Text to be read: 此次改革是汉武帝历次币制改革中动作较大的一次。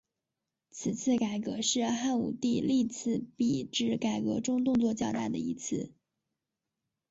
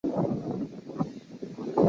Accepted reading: first